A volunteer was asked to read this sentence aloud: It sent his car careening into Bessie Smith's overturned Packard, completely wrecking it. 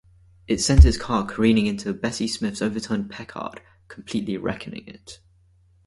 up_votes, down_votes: 2, 2